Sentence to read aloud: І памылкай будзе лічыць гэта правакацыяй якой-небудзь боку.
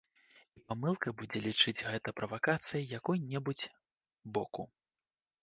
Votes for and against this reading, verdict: 2, 3, rejected